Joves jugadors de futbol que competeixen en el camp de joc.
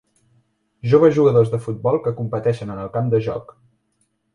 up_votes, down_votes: 2, 0